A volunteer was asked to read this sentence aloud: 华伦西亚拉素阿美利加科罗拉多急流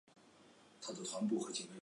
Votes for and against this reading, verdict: 0, 3, rejected